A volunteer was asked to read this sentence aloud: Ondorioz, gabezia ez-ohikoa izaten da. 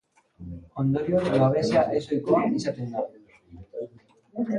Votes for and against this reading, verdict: 0, 2, rejected